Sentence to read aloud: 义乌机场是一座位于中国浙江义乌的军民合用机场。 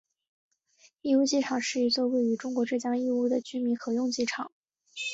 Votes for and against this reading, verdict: 2, 0, accepted